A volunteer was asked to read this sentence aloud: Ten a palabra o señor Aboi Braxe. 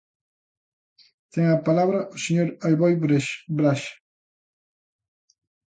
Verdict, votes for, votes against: rejected, 0, 2